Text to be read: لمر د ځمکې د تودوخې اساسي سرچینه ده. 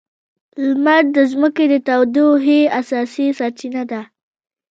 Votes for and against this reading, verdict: 2, 0, accepted